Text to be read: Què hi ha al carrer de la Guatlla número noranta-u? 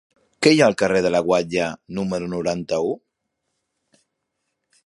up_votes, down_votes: 3, 0